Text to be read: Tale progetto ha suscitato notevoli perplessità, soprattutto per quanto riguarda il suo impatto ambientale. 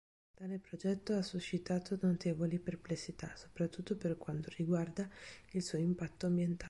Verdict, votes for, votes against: rejected, 0, 2